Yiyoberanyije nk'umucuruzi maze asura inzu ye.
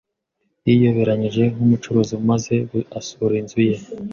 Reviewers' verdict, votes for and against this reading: accepted, 2, 1